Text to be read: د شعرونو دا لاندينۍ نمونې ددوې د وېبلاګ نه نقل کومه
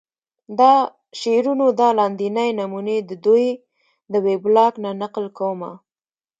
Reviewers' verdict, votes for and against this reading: rejected, 1, 2